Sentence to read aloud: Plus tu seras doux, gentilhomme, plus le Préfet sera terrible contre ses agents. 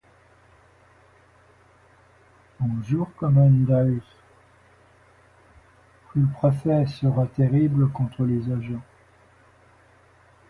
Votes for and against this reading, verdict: 1, 2, rejected